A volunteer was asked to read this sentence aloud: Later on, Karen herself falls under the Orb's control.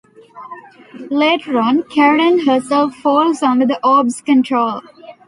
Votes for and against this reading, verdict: 2, 0, accepted